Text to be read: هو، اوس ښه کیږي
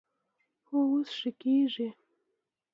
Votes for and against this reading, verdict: 2, 0, accepted